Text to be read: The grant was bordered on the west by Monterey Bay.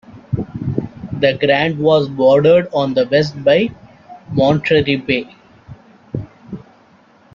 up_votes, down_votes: 0, 2